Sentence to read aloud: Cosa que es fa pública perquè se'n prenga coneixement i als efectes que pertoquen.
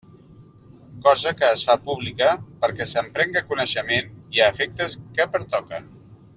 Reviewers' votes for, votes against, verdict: 0, 2, rejected